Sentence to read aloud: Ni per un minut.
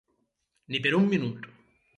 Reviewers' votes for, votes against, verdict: 4, 0, accepted